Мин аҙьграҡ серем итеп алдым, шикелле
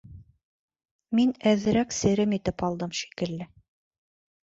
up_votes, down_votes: 0, 2